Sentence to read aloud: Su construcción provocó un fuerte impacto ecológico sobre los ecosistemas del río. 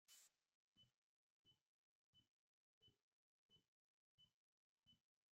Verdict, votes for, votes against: rejected, 0, 2